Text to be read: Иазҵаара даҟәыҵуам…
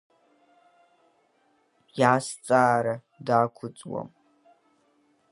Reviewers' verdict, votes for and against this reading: rejected, 0, 2